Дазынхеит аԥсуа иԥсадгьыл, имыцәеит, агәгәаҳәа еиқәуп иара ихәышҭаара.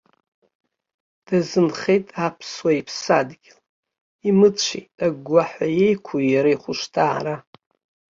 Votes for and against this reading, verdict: 3, 2, accepted